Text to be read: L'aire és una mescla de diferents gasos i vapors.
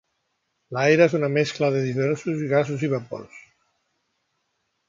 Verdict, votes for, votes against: rejected, 0, 2